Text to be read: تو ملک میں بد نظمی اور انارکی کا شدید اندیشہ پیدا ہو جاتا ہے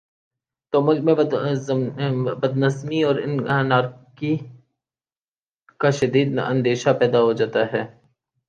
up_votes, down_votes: 2, 3